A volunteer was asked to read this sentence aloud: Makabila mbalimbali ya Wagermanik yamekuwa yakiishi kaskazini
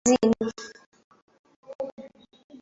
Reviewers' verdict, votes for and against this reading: rejected, 0, 2